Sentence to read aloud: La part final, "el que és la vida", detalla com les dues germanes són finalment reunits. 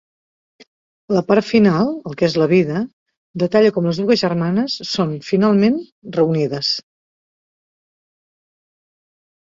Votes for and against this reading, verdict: 0, 3, rejected